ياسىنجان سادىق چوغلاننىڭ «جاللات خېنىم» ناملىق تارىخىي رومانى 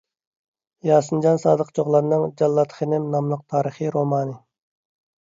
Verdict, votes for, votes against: accepted, 2, 0